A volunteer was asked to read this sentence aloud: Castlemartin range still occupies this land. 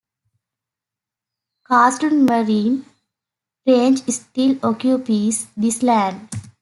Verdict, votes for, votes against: rejected, 0, 2